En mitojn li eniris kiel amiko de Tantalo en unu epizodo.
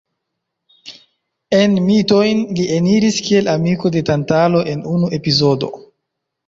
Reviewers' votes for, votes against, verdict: 0, 2, rejected